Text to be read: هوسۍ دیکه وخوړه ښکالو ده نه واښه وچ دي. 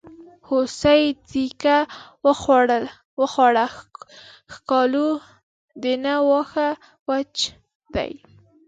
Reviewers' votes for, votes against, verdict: 5, 1, accepted